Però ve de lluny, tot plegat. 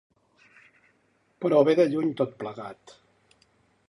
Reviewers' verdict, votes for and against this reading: accepted, 3, 0